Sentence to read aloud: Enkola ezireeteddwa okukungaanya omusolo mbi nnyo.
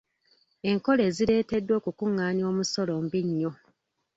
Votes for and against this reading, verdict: 0, 2, rejected